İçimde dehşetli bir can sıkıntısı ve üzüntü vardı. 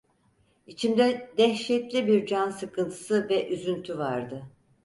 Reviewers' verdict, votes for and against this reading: accepted, 4, 0